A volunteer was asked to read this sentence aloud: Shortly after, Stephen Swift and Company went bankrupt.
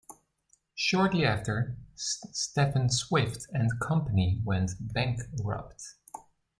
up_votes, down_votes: 2, 1